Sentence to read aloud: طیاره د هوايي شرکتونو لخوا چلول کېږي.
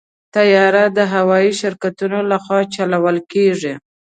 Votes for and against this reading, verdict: 2, 0, accepted